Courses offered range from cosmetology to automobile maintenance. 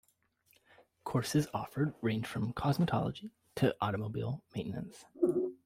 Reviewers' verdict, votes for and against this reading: rejected, 0, 2